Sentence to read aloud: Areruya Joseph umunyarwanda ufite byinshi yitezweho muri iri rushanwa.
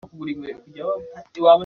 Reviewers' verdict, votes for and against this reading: rejected, 0, 2